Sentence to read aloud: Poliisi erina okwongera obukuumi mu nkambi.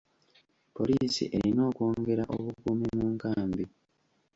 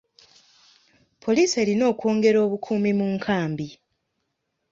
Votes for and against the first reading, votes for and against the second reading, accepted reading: 2, 3, 2, 0, second